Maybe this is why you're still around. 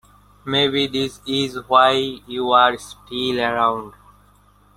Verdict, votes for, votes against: accepted, 2, 0